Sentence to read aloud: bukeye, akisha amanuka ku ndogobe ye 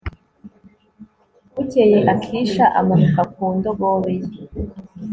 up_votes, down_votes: 2, 0